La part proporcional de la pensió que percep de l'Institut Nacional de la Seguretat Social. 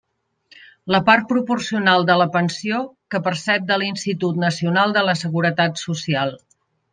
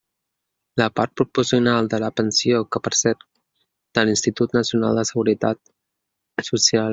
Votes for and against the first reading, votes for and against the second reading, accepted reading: 3, 0, 1, 2, first